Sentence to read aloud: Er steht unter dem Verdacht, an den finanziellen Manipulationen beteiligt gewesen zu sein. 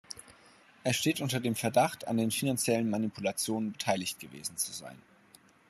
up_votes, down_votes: 2, 0